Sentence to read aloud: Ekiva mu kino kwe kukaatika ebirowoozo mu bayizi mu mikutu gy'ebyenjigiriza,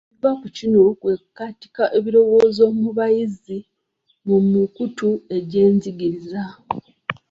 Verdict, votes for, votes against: rejected, 1, 2